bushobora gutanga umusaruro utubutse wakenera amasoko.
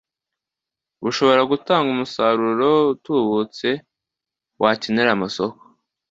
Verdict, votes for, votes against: accepted, 2, 0